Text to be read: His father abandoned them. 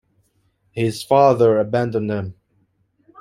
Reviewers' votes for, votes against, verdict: 2, 0, accepted